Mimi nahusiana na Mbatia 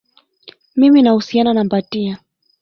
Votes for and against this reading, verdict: 1, 2, rejected